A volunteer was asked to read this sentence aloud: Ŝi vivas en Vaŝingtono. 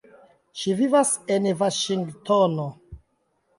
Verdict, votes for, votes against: accepted, 2, 0